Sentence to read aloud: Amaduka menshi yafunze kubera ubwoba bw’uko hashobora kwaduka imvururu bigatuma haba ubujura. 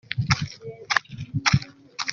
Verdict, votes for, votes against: rejected, 0, 2